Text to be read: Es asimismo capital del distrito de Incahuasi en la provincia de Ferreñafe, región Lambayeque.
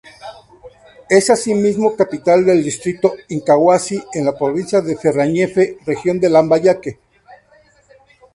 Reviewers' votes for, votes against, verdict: 0, 2, rejected